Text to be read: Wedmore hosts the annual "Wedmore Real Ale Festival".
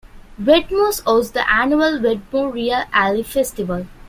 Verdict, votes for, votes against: rejected, 1, 2